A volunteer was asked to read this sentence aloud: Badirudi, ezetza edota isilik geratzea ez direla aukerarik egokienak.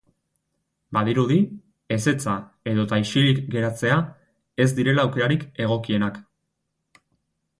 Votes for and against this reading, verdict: 4, 0, accepted